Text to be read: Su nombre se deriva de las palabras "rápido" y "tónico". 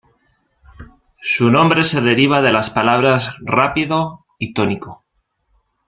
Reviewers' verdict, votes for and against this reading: accepted, 2, 0